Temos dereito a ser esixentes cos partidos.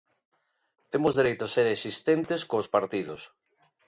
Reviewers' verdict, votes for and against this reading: rejected, 0, 2